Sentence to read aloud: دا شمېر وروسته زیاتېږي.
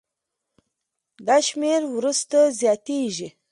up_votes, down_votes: 3, 0